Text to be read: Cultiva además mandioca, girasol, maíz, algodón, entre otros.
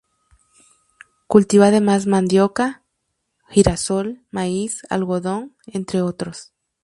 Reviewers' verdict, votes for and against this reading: rejected, 0, 2